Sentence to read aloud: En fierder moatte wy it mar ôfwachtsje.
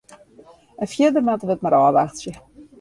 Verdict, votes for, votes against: rejected, 0, 2